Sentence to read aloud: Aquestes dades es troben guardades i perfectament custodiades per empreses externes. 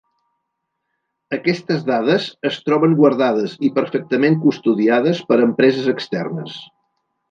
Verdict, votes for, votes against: accepted, 3, 0